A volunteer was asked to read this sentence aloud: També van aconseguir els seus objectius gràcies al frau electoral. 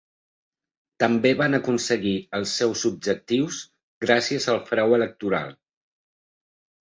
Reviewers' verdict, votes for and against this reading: accepted, 3, 0